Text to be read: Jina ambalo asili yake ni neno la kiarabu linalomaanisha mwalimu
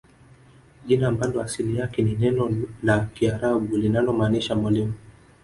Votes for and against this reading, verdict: 0, 2, rejected